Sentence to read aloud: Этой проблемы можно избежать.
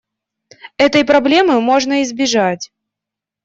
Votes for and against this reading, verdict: 2, 0, accepted